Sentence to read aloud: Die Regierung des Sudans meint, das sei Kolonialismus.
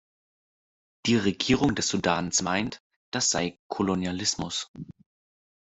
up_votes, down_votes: 2, 0